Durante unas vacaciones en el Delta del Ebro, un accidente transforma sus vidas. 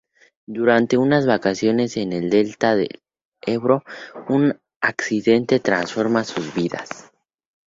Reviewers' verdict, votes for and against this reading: accepted, 2, 0